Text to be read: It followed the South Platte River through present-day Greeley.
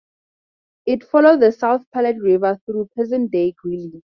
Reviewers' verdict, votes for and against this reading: rejected, 6, 8